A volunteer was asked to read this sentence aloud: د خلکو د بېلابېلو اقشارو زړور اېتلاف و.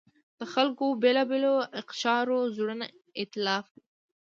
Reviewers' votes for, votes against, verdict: 1, 2, rejected